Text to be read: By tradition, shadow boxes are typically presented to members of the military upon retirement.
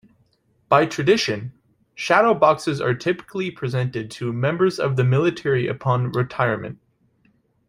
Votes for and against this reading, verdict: 2, 0, accepted